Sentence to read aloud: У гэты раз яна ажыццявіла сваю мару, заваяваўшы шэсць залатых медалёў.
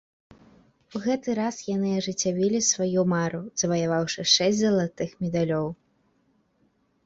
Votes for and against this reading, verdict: 0, 2, rejected